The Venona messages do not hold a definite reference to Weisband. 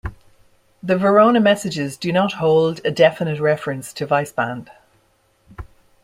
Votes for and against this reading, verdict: 0, 2, rejected